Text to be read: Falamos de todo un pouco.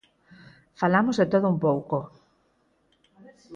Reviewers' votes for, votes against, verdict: 4, 0, accepted